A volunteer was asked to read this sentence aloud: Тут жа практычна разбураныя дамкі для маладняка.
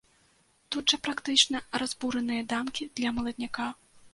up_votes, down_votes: 0, 2